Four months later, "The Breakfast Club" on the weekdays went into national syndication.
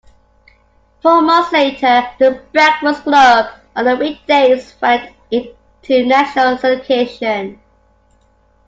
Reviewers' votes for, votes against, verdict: 0, 2, rejected